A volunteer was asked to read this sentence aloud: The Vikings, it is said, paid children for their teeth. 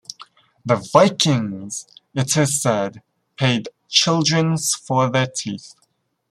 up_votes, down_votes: 1, 2